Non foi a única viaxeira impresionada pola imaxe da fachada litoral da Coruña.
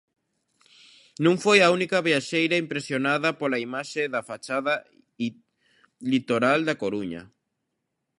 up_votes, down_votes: 0, 2